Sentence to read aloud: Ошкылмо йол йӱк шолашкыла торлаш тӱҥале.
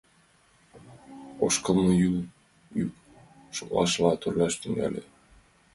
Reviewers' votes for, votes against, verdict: 1, 2, rejected